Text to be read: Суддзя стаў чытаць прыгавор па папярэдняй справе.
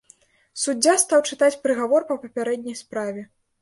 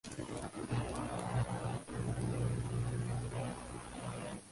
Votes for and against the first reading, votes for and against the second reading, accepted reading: 2, 0, 1, 2, first